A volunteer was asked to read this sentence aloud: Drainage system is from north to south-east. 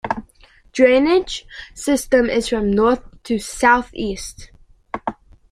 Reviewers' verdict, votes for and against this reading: accepted, 2, 0